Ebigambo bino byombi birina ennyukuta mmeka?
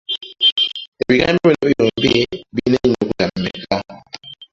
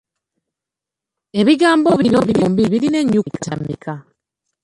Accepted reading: second